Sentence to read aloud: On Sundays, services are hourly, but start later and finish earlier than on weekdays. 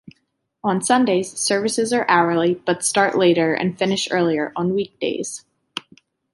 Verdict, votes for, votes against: rejected, 0, 2